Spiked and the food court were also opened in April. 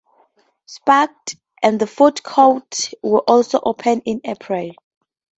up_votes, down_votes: 2, 0